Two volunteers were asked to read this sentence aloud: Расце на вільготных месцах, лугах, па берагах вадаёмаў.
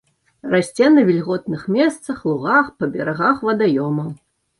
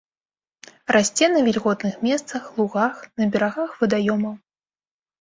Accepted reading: first